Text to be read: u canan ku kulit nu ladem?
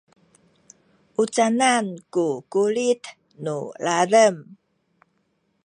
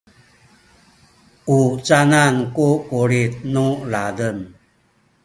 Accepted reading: first